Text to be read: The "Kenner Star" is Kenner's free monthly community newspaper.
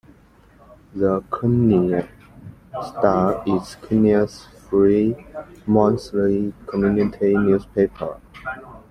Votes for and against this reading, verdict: 2, 1, accepted